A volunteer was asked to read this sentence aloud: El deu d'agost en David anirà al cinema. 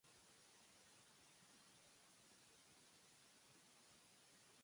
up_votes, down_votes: 0, 2